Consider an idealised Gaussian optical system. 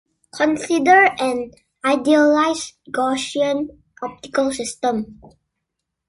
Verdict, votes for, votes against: accepted, 2, 0